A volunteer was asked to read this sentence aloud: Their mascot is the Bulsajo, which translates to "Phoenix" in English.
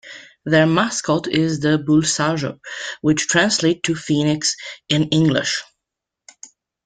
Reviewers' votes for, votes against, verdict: 2, 0, accepted